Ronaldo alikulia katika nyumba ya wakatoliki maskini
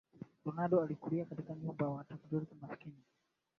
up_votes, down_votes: 1, 3